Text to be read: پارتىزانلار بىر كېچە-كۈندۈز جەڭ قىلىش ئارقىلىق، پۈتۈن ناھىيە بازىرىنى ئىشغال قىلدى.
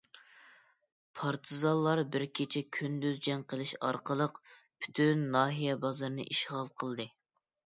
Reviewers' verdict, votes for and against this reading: accepted, 2, 0